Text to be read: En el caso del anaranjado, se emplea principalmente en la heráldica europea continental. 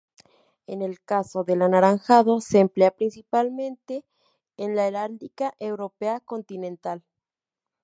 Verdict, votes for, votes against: accepted, 2, 0